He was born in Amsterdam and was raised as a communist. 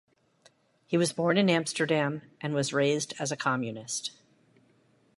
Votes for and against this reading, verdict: 2, 1, accepted